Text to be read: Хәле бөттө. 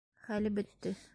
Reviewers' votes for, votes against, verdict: 2, 0, accepted